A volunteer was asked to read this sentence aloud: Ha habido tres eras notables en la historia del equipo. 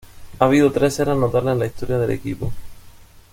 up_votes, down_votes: 2, 0